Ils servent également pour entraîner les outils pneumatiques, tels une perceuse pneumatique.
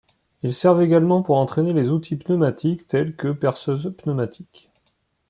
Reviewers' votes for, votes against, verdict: 1, 2, rejected